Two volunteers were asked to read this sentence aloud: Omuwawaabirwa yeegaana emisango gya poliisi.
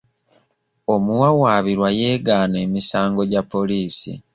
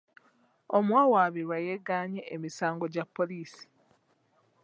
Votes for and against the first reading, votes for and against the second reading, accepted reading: 2, 0, 1, 2, first